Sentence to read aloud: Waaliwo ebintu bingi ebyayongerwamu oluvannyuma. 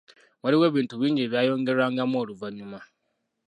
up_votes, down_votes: 1, 2